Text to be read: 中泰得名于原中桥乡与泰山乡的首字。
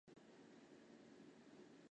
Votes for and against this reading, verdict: 0, 3, rejected